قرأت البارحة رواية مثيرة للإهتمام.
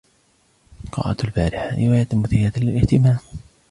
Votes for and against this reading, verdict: 2, 0, accepted